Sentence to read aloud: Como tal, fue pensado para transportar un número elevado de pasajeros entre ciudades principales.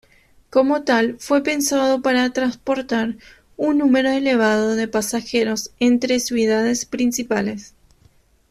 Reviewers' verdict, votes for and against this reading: rejected, 1, 2